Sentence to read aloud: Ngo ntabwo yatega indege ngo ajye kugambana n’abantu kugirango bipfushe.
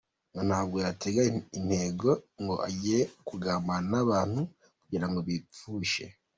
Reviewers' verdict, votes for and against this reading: rejected, 1, 2